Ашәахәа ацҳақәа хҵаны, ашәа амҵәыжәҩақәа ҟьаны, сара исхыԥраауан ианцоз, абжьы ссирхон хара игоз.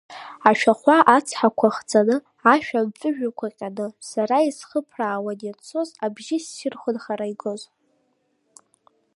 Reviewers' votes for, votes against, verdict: 2, 0, accepted